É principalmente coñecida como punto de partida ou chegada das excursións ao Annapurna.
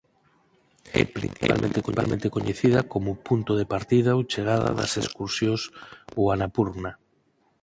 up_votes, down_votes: 2, 4